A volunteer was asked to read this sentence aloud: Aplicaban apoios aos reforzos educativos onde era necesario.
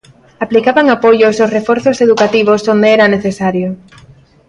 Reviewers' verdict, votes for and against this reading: accepted, 2, 0